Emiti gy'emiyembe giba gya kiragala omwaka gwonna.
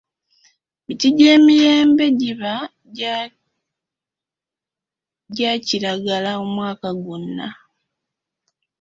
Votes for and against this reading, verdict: 2, 3, rejected